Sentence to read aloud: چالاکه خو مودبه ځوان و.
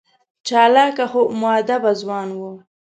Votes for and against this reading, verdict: 3, 0, accepted